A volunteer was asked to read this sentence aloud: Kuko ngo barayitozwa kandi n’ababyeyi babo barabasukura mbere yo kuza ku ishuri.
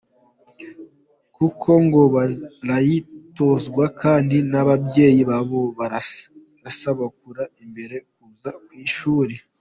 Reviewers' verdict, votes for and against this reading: rejected, 1, 2